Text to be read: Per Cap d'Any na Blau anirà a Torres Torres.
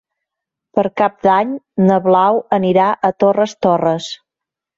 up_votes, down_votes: 3, 0